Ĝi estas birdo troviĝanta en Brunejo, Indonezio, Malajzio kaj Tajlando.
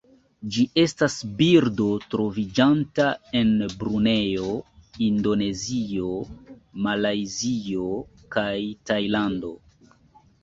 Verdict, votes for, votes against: accepted, 2, 0